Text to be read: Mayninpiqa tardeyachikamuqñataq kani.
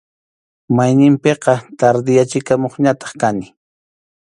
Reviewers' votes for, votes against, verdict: 2, 0, accepted